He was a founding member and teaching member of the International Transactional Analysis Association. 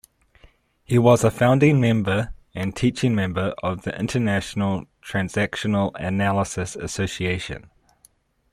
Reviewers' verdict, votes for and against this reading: accepted, 2, 0